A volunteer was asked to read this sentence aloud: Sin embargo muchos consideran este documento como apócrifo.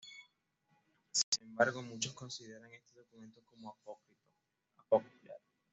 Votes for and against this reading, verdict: 2, 0, accepted